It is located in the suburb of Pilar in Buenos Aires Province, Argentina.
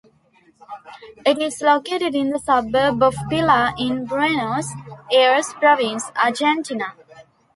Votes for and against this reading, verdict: 1, 2, rejected